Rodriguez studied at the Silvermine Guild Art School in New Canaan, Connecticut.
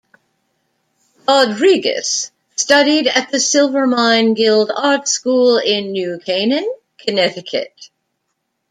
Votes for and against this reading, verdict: 1, 2, rejected